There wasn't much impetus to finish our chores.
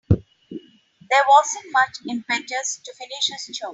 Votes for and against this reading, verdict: 0, 3, rejected